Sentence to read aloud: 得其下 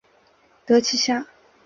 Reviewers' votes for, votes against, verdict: 5, 0, accepted